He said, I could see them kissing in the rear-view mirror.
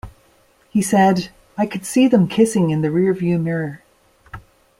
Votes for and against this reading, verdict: 2, 0, accepted